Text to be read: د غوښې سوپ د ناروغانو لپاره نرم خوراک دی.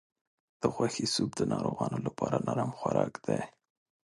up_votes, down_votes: 2, 0